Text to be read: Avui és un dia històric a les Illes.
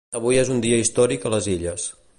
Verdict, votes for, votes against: accepted, 2, 0